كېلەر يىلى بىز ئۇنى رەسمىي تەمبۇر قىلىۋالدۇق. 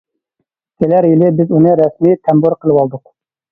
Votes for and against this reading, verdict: 0, 2, rejected